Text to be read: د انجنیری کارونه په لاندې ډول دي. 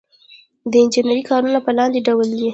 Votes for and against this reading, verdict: 1, 2, rejected